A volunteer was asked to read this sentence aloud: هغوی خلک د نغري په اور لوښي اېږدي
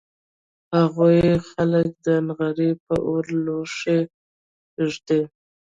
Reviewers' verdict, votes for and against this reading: rejected, 0, 2